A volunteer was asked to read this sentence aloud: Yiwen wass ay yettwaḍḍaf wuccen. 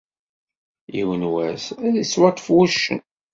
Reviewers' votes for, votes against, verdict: 1, 2, rejected